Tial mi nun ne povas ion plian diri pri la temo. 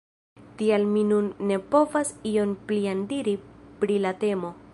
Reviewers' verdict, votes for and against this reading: accepted, 2, 0